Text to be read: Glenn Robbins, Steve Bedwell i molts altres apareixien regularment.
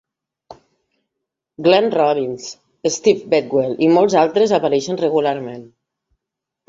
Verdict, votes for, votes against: rejected, 1, 2